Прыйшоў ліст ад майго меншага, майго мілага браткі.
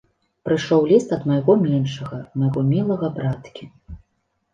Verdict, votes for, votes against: accepted, 4, 0